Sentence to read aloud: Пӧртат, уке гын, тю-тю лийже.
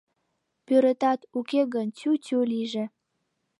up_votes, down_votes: 1, 2